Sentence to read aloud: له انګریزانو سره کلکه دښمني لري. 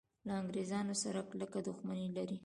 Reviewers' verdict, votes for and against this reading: accepted, 2, 1